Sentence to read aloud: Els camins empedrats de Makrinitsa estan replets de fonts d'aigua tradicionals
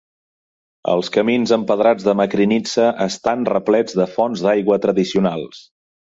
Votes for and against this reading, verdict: 2, 0, accepted